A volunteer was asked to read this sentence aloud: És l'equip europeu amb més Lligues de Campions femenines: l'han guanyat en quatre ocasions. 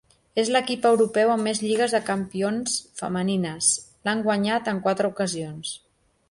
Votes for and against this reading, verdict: 2, 0, accepted